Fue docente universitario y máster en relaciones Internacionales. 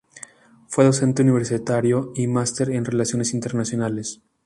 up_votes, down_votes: 2, 0